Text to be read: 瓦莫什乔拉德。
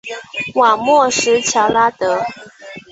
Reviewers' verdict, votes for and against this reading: accepted, 3, 1